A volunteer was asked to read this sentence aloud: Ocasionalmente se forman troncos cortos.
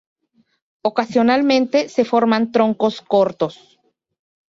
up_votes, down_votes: 4, 0